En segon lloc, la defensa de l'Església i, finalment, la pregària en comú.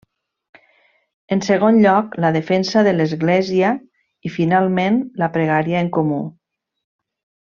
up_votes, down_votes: 3, 0